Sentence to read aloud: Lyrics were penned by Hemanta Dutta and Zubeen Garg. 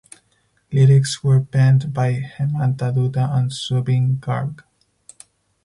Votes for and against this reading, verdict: 2, 2, rejected